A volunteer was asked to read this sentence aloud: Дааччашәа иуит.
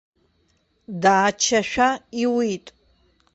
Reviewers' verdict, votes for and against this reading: rejected, 0, 2